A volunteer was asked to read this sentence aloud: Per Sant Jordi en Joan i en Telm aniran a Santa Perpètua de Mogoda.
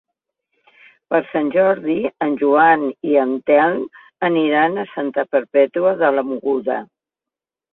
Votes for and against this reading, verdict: 0, 2, rejected